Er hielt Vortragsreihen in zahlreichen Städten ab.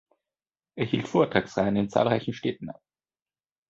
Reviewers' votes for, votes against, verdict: 2, 1, accepted